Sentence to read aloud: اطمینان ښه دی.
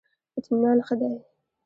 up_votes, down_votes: 2, 0